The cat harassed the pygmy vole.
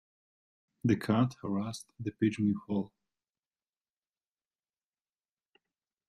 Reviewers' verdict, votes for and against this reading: rejected, 0, 2